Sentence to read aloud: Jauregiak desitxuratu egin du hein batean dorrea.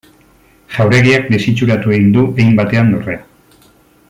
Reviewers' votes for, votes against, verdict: 2, 0, accepted